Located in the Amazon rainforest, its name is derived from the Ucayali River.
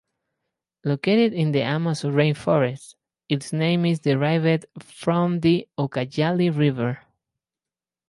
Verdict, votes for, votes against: accepted, 2, 0